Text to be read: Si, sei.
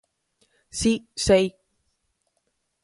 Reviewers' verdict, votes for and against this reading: accepted, 4, 0